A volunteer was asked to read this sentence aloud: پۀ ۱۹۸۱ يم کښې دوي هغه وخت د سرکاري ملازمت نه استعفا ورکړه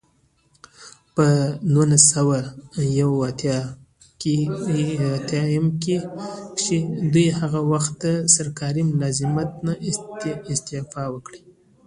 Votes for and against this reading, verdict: 0, 2, rejected